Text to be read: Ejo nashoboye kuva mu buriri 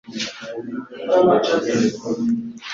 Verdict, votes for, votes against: rejected, 0, 2